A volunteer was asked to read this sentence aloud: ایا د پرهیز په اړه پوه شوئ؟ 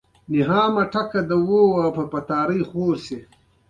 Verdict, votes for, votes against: rejected, 1, 2